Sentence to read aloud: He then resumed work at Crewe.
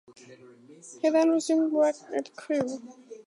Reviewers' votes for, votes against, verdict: 4, 0, accepted